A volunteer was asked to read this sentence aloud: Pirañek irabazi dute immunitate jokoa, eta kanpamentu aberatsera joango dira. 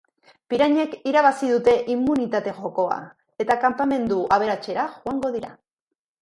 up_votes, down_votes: 2, 0